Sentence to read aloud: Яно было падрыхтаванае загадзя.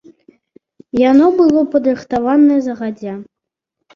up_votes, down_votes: 2, 0